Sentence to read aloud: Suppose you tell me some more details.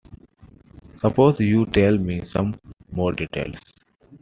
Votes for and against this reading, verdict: 2, 1, accepted